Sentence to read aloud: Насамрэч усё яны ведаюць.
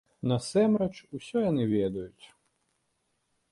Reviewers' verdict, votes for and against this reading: rejected, 0, 2